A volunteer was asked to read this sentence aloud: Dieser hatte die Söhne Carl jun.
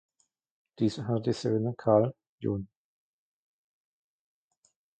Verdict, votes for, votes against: rejected, 0, 2